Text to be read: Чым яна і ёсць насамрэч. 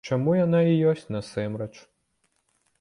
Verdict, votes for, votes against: rejected, 1, 2